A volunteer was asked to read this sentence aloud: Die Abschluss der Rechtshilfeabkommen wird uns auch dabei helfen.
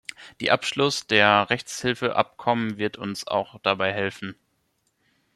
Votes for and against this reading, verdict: 2, 0, accepted